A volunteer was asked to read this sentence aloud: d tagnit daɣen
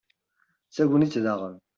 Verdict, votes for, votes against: accepted, 2, 0